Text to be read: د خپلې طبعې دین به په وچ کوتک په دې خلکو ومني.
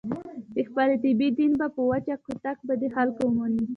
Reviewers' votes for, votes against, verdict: 2, 1, accepted